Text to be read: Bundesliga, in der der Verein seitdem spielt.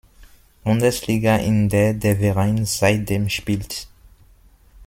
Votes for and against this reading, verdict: 1, 2, rejected